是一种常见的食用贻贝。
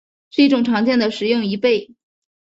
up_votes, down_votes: 4, 0